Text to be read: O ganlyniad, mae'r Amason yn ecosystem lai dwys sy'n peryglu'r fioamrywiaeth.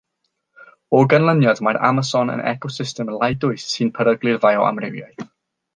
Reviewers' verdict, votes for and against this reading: rejected, 0, 3